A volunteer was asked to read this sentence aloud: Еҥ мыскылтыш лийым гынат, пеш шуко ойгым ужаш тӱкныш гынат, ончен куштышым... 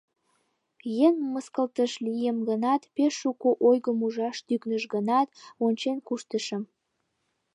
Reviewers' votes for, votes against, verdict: 2, 0, accepted